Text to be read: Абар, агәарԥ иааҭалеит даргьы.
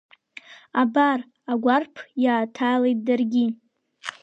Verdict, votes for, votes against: accepted, 3, 0